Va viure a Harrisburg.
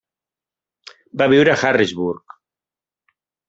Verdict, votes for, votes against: accepted, 3, 0